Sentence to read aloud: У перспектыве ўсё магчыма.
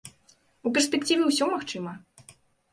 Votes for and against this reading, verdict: 0, 2, rejected